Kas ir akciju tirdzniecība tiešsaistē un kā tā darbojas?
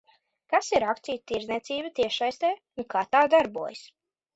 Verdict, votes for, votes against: accepted, 2, 0